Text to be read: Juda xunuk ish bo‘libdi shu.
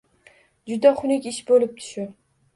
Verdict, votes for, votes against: accepted, 2, 0